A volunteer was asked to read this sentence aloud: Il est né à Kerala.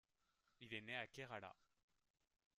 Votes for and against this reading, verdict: 2, 0, accepted